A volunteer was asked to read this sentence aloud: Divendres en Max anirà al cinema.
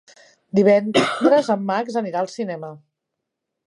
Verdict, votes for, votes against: accepted, 2, 1